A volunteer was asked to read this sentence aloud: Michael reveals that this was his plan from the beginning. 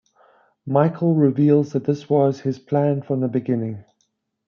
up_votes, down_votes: 2, 0